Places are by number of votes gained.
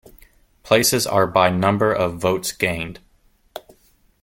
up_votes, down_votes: 1, 2